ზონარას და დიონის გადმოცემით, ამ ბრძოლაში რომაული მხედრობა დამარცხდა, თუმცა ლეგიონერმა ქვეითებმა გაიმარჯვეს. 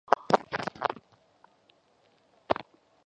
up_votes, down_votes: 0, 2